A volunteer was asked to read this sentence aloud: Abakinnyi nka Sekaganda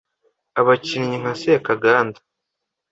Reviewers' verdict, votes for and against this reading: accepted, 2, 0